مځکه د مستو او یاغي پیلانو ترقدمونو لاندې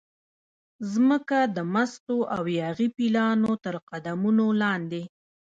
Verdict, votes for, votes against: rejected, 0, 2